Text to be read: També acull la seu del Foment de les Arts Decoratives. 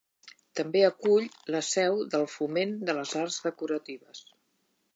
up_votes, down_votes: 2, 0